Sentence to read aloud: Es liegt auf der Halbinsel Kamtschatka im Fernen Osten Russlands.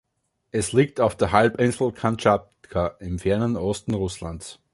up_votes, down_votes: 1, 2